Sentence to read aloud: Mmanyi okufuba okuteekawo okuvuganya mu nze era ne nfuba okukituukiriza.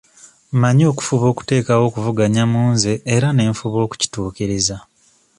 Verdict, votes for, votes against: accepted, 2, 0